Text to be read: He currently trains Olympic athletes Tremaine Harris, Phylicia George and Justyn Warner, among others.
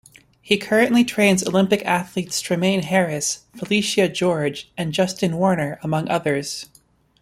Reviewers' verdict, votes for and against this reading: accepted, 2, 0